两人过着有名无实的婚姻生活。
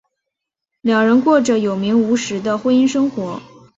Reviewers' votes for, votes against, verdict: 3, 0, accepted